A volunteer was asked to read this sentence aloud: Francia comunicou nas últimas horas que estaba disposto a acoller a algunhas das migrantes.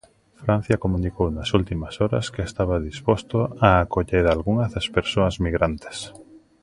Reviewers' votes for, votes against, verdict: 0, 2, rejected